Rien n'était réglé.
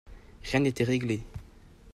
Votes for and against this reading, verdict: 2, 0, accepted